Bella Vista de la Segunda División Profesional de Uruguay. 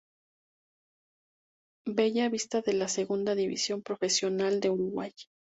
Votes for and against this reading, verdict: 2, 0, accepted